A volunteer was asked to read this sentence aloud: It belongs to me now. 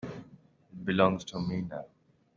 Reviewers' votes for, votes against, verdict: 0, 2, rejected